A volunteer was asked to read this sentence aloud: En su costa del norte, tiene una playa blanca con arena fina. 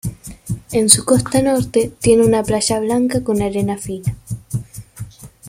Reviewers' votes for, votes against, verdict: 1, 2, rejected